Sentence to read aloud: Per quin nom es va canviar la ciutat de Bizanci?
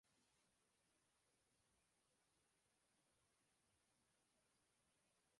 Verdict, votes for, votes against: rejected, 0, 3